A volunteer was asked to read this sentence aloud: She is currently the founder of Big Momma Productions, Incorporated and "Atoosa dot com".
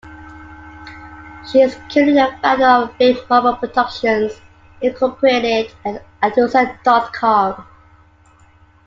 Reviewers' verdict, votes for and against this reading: rejected, 0, 2